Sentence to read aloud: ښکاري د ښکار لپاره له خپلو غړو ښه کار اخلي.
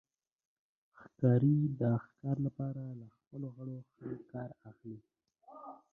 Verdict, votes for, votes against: rejected, 1, 2